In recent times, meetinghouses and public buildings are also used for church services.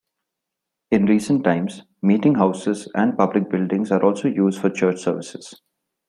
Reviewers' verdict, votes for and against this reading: accepted, 2, 0